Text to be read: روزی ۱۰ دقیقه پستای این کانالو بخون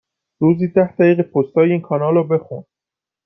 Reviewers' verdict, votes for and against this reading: rejected, 0, 2